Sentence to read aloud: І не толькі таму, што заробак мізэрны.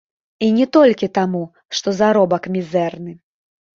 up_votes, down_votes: 2, 1